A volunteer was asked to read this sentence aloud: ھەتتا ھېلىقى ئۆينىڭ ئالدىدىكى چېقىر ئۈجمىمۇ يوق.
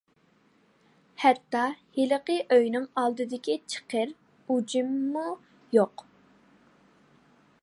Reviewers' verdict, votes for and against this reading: rejected, 0, 2